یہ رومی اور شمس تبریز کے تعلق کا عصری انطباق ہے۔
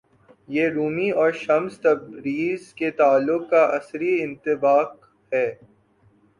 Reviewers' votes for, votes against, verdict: 2, 3, rejected